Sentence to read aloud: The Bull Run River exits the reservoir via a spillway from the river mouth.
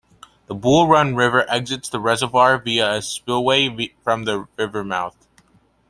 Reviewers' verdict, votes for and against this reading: rejected, 1, 2